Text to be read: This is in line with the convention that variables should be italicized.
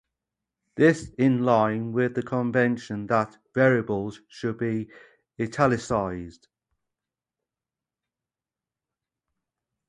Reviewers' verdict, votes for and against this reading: rejected, 0, 2